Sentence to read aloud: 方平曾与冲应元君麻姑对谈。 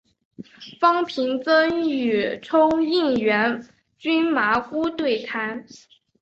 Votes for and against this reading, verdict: 7, 1, accepted